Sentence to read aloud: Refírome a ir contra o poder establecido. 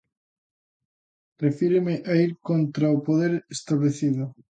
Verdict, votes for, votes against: rejected, 0, 2